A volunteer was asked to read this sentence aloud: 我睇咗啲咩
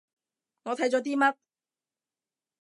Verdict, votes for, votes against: rejected, 0, 2